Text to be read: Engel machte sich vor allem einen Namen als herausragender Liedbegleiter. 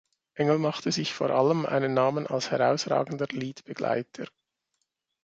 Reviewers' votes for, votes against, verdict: 2, 1, accepted